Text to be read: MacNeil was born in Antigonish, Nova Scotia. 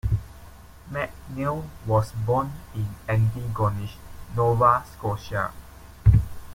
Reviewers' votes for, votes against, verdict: 2, 0, accepted